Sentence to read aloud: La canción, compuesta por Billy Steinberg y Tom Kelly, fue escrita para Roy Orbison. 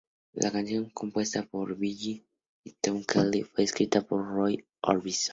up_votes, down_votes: 2, 0